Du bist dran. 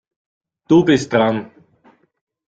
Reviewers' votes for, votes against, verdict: 0, 2, rejected